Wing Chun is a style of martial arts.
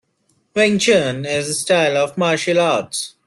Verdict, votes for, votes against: rejected, 0, 2